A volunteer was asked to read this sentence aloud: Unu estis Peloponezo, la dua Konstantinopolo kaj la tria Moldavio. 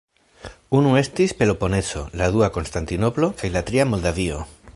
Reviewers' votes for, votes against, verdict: 1, 2, rejected